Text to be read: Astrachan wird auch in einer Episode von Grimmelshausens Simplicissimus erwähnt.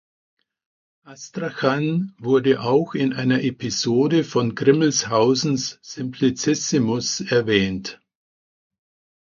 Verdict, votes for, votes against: rejected, 0, 2